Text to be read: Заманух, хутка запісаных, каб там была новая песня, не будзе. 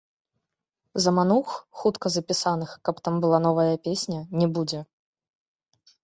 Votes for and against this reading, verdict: 1, 2, rejected